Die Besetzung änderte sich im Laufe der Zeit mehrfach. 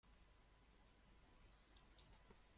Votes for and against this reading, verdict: 0, 2, rejected